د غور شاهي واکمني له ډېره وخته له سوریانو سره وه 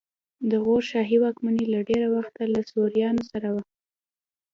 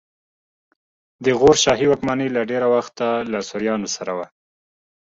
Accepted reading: second